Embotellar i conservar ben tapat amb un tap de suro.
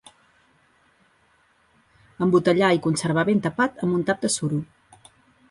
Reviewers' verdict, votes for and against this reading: rejected, 1, 2